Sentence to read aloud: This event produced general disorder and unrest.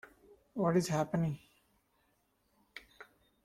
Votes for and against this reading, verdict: 0, 2, rejected